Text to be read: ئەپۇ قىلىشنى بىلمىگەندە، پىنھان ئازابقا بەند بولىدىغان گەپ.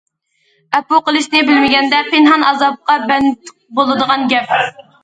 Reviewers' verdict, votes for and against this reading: accepted, 2, 0